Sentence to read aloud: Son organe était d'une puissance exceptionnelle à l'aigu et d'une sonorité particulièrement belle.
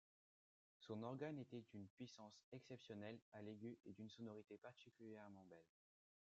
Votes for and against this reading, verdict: 2, 0, accepted